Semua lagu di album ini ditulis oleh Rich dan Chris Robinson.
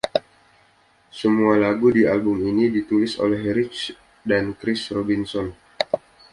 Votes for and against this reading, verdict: 2, 0, accepted